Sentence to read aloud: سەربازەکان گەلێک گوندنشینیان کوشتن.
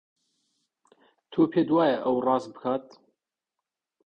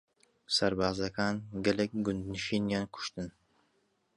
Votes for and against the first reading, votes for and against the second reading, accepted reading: 0, 2, 2, 0, second